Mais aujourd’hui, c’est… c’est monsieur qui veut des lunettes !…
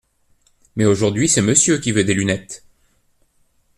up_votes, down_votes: 1, 2